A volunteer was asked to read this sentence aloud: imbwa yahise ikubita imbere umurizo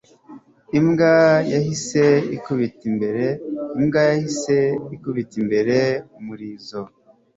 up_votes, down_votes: 0, 2